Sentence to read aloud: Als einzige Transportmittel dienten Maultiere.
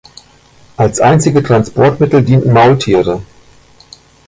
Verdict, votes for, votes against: accepted, 2, 1